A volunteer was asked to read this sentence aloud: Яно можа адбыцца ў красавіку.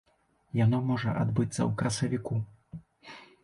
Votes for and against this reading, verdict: 2, 0, accepted